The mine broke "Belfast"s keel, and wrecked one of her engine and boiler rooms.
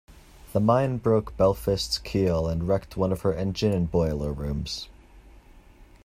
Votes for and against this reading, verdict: 2, 0, accepted